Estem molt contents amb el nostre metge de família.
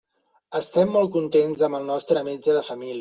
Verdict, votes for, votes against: rejected, 0, 2